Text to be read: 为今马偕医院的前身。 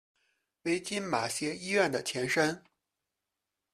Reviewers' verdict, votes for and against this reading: rejected, 0, 2